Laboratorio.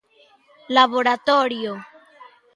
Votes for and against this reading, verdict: 2, 0, accepted